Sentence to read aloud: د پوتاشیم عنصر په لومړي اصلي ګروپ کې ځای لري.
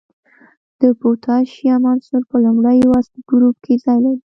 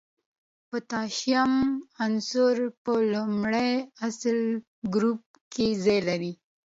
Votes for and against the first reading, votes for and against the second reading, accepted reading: 1, 2, 2, 0, second